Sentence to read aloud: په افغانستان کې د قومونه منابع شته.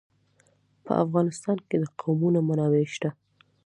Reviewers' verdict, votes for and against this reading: accepted, 2, 1